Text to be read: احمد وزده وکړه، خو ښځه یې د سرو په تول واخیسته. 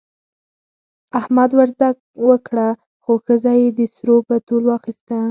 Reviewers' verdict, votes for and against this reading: rejected, 2, 4